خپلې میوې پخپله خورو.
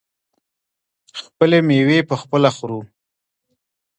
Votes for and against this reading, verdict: 2, 1, accepted